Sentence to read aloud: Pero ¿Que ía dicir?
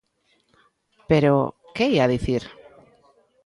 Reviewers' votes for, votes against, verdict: 1, 2, rejected